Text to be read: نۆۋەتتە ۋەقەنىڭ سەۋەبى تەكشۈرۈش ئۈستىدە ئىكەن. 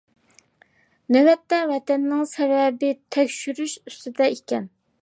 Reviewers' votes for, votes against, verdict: 0, 2, rejected